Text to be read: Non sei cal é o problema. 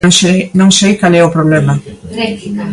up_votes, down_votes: 0, 2